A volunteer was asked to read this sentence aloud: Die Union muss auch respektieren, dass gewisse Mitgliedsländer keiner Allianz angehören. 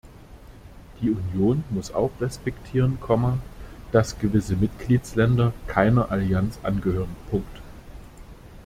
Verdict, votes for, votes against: rejected, 0, 2